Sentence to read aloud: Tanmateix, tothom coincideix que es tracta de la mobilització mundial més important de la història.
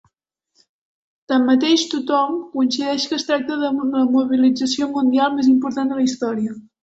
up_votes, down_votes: 0, 2